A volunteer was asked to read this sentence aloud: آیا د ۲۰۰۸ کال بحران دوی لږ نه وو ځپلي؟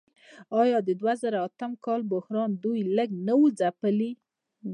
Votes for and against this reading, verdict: 0, 2, rejected